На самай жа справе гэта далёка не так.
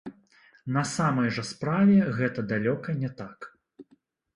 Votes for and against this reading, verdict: 0, 2, rejected